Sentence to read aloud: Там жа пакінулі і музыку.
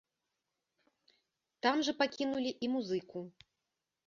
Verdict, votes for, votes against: accepted, 2, 0